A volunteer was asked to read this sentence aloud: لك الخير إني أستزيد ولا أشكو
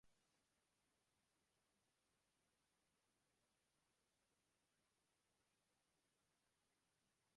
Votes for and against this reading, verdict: 0, 2, rejected